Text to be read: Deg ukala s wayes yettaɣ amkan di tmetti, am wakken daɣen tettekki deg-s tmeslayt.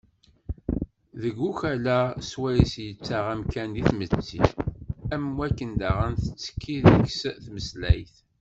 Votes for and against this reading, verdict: 1, 2, rejected